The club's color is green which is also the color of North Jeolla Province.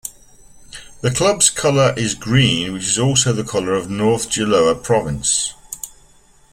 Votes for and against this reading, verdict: 1, 2, rejected